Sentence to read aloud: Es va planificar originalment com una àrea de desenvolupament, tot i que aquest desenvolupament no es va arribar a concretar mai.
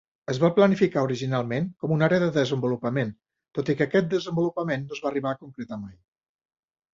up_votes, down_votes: 2, 0